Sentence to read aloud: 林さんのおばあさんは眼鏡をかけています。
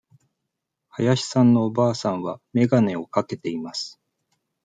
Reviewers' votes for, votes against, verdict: 2, 0, accepted